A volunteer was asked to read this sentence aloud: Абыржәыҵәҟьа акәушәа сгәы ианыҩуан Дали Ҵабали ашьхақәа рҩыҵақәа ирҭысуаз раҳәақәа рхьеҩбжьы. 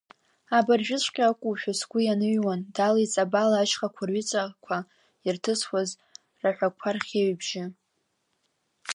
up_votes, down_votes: 1, 2